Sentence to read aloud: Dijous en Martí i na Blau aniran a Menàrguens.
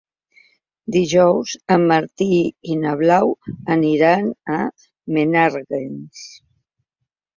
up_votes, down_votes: 3, 0